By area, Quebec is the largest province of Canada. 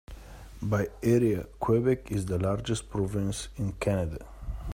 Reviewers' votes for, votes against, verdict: 2, 0, accepted